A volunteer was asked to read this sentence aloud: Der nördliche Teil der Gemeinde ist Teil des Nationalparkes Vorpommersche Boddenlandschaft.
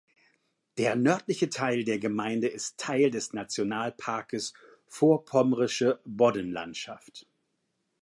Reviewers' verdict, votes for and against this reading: rejected, 1, 2